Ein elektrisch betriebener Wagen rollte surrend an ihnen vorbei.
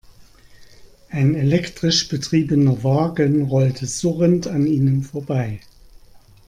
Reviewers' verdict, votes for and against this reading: accepted, 2, 0